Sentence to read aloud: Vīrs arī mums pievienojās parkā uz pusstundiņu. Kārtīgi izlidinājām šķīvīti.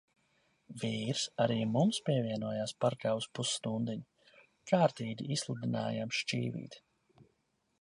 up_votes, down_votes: 1, 2